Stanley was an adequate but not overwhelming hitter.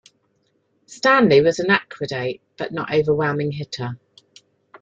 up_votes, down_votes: 0, 2